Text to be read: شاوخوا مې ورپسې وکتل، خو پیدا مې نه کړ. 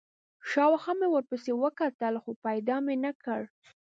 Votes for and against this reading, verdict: 2, 0, accepted